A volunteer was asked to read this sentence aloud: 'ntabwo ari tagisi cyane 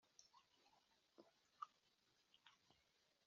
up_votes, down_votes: 0, 3